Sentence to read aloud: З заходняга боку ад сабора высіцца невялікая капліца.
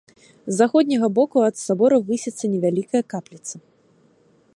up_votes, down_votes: 3, 0